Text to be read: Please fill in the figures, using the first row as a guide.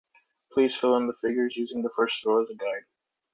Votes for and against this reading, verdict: 2, 0, accepted